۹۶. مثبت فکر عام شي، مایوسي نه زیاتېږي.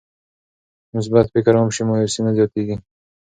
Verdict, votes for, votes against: rejected, 0, 2